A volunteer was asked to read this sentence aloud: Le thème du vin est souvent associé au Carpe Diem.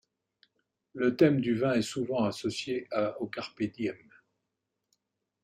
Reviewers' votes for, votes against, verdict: 2, 3, rejected